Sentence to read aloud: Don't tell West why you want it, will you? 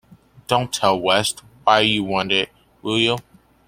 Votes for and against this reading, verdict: 2, 0, accepted